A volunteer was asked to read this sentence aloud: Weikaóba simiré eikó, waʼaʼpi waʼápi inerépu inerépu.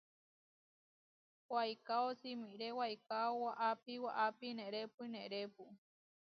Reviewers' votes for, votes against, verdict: 0, 2, rejected